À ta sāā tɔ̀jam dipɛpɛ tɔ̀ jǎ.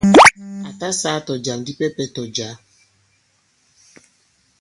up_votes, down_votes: 1, 2